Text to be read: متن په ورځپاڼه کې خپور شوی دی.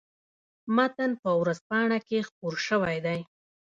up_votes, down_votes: 2, 0